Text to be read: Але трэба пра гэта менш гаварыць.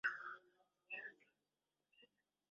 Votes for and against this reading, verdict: 0, 2, rejected